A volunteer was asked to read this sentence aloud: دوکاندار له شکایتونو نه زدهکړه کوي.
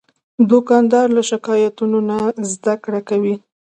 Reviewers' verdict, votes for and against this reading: accepted, 2, 0